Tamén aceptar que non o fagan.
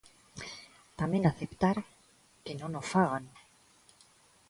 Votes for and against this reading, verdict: 2, 0, accepted